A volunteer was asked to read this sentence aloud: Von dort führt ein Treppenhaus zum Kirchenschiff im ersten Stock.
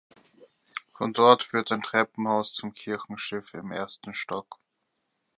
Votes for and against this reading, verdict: 2, 0, accepted